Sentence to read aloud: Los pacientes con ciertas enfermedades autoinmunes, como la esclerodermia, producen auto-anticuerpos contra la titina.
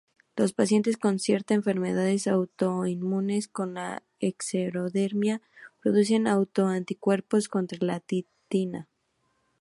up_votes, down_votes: 0, 2